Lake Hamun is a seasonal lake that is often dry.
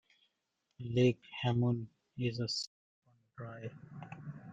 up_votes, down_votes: 0, 2